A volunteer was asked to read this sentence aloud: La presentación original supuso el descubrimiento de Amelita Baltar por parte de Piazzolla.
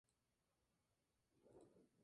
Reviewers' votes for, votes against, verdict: 0, 2, rejected